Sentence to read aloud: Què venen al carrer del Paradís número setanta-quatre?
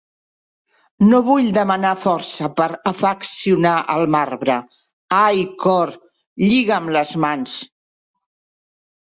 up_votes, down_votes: 0, 2